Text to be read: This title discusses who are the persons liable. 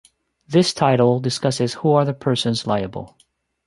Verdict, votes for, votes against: accepted, 2, 1